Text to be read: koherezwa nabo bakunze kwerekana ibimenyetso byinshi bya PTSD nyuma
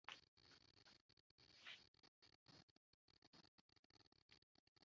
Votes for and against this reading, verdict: 0, 2, rejected